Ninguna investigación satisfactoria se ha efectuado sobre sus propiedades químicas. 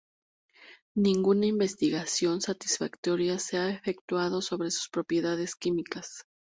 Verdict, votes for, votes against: accepted, 4, 0